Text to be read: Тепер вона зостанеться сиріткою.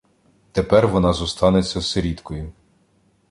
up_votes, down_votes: 2, 0